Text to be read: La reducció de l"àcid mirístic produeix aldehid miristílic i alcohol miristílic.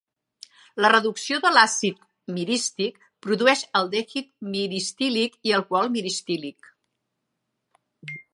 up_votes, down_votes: 2, 0